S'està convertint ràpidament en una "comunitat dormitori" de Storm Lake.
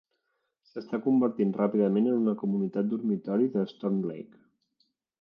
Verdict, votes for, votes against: accepted, 3, 0